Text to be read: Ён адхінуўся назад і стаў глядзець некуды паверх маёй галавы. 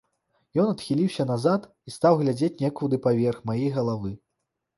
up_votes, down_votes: 0, 2